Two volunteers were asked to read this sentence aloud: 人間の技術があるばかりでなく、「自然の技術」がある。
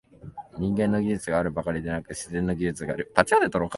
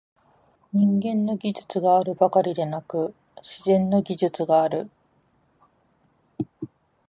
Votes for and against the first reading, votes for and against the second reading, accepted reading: 2, 3, 2, 0, second